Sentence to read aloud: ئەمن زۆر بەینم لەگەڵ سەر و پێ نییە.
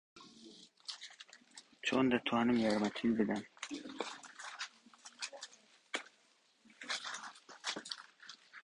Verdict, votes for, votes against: rejected, 0, 2